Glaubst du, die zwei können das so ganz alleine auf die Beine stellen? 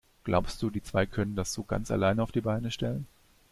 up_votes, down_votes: 2, 0